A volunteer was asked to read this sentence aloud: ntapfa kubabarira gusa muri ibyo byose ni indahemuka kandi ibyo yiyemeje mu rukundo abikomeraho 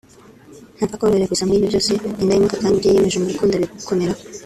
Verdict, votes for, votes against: rejected, 0, 2